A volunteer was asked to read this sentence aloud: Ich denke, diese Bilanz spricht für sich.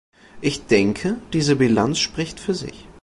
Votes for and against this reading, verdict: 2, 0, accepted